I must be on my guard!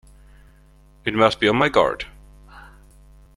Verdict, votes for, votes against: rejected, 0, 2